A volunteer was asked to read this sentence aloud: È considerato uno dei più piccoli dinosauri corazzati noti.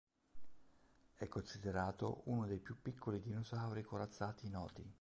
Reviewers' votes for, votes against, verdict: 1, 2, rejected